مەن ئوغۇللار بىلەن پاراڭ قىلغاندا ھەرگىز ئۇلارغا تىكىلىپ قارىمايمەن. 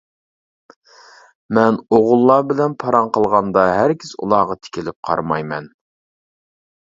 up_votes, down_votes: 2, 0